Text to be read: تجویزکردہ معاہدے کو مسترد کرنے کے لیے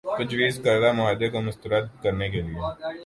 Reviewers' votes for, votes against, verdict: 0, 2, rejected